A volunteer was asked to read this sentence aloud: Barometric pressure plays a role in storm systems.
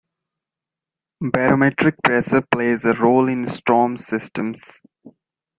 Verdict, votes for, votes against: accepted, 2, 0